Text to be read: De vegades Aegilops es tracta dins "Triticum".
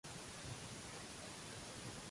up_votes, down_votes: 0, 2